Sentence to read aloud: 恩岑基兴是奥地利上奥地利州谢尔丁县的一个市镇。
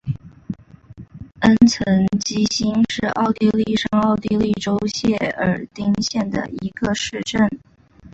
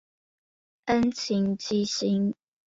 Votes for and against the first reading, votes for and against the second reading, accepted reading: 2, 1, 0, 3, first